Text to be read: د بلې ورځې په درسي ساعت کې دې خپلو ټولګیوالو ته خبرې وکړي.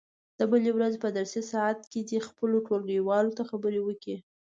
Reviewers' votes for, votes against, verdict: 2, 0, accepted